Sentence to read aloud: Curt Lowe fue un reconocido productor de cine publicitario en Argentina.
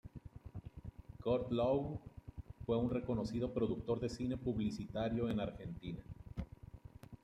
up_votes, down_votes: 2, 1